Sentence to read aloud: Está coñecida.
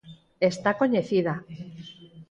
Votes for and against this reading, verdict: 2, 4, rejected